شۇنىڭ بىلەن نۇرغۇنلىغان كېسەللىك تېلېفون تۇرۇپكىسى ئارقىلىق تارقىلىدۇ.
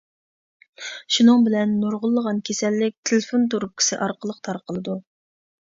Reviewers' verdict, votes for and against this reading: accepted, 2, 0